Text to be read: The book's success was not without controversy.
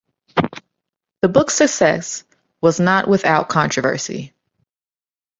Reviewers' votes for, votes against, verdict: 1, 2, rejected